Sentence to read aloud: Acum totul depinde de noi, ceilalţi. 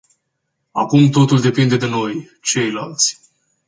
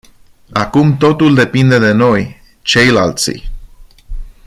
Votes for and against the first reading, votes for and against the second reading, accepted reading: 2, 0, 0, 2, first